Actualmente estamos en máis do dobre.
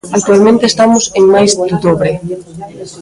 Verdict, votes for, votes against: rejected, 1, 2